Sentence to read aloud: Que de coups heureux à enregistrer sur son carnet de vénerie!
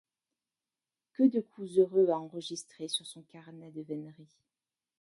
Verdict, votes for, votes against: rejected, 0, 2